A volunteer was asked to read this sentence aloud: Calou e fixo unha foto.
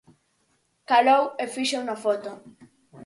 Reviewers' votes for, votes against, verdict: 4, 2, accepted